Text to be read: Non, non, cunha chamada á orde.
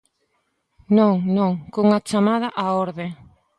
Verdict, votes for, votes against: accepted, 2, 0